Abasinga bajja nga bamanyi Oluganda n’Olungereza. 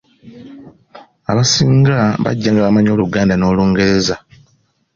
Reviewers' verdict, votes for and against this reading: accepted, 2, 0